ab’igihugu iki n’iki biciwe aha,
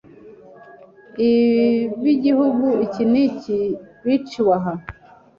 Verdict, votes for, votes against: rejected, 0, 2